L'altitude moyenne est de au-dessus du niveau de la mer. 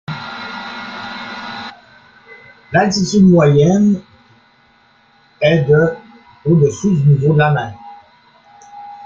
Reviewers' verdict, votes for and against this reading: accepted, 2, 1